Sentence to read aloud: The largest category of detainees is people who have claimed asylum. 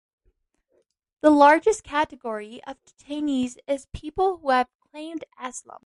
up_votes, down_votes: 0, 2